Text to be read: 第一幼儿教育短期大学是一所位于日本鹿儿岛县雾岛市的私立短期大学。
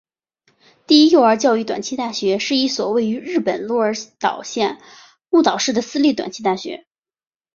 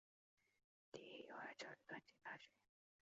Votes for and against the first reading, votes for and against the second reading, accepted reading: 3, 0, 0, 3, first